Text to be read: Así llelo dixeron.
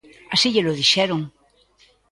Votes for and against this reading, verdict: 3, 0, accepted